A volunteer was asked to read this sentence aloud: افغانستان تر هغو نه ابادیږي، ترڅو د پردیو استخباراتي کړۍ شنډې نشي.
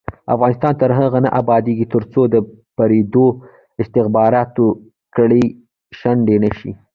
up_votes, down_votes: 0, 2